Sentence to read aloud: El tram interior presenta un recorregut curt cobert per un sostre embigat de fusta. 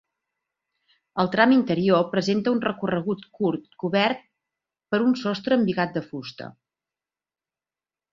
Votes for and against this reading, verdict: 2, 0, accepted